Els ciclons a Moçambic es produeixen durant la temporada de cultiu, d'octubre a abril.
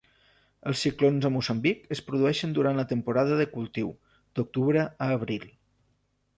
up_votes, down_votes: 2, 0